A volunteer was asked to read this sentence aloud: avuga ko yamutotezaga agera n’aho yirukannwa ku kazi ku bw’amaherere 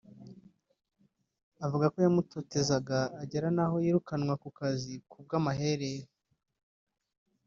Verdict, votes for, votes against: accepted, 2, 0